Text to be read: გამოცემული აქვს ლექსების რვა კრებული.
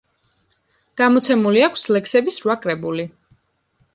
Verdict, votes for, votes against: accepted, 2, 0